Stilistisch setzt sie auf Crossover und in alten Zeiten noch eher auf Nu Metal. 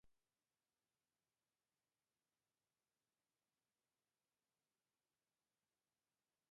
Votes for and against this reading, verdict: 0, 2, rejected